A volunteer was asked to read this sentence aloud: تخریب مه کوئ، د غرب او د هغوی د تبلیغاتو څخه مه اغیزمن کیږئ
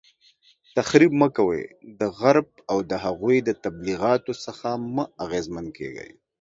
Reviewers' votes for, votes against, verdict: 2, 0, accepted